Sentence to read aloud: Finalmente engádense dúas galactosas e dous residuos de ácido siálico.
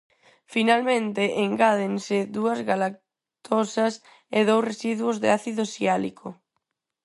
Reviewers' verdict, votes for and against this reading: accepted, 4, 0